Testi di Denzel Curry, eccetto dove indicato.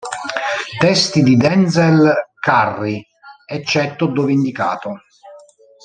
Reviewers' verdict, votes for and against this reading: rejected, 0, 2